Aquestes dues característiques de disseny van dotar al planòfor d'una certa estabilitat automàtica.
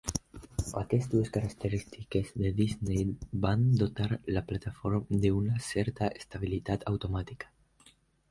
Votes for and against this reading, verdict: 0, 2, rejected